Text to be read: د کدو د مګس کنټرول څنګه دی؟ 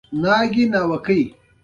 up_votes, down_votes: 2, 1